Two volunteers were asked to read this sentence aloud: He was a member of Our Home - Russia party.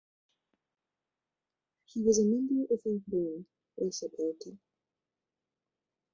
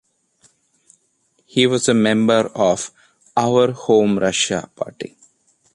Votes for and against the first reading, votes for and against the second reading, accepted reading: 1, 2, 2, 0, second